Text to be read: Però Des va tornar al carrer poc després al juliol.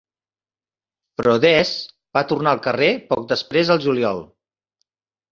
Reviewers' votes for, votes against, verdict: 5, 0, accepted